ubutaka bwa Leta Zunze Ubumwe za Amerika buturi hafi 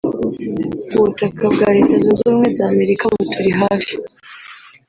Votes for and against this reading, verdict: 1, 2, rejected